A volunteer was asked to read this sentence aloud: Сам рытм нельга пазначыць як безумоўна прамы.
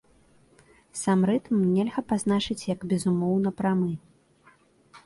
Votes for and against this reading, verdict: 2, 0, accepted